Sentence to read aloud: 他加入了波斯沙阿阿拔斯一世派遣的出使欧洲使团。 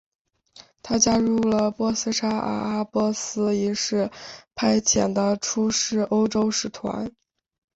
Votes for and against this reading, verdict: 2, 1, accepted